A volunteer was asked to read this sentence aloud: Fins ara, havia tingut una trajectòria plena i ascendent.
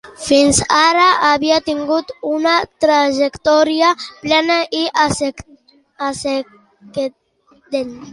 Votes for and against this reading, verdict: 0, 3, rejected